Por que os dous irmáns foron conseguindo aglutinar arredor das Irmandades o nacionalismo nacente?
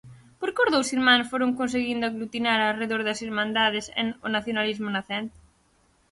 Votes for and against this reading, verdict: 0, 4, rejected